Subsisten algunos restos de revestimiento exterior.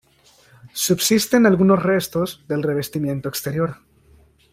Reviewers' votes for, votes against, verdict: 1, 2, rejected